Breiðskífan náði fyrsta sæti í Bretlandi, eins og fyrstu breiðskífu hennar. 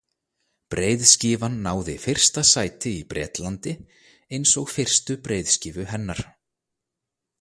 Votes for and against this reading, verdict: 2, 0, accepted